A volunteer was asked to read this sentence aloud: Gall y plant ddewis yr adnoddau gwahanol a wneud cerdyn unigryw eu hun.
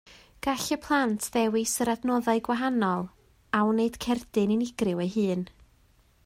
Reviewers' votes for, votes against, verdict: 2, 0, accepted